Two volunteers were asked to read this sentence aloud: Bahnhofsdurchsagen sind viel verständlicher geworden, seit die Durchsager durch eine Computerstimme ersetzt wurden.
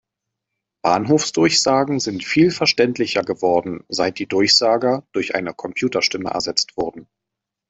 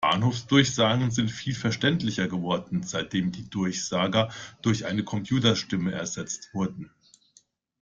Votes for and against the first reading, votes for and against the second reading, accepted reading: 2, 0, 0, 2, first